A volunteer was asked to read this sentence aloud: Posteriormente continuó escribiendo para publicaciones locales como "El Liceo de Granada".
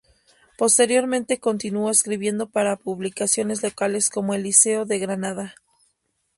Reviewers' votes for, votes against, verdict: 2, 2, rejected